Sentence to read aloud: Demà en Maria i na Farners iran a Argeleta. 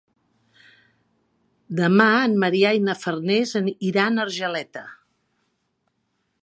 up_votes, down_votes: 0, 2